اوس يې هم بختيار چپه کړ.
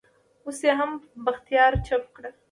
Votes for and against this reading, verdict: 2, 0, accepted